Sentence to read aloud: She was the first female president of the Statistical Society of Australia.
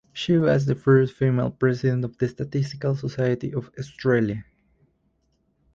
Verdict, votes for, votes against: accepted, 4, 0